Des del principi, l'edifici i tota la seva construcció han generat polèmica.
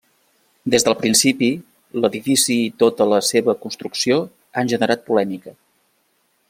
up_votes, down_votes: 0, 2